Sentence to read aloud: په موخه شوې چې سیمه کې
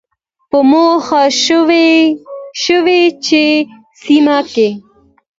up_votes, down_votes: 2, 0